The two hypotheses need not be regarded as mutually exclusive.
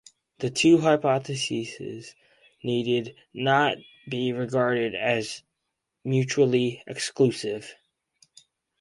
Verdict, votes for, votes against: rejected, 0, 4